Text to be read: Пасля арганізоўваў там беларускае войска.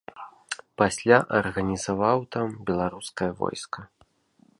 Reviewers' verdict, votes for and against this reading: rejected, 1, 2